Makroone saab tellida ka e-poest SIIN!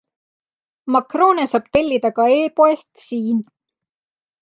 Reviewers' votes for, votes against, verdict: 2, 0, accepted